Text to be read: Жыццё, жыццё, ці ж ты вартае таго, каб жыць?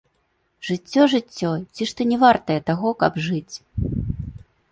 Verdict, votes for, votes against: rejected, 1, 2